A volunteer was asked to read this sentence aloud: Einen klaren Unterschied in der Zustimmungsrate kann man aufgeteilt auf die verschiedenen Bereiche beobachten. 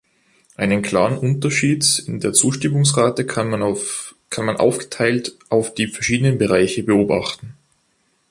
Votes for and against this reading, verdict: 1, 2, rejected